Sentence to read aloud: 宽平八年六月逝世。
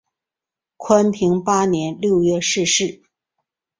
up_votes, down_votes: 2, 0